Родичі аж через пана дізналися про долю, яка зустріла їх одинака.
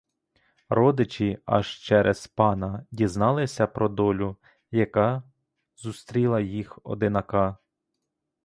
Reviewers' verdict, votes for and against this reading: rejected, 0, 2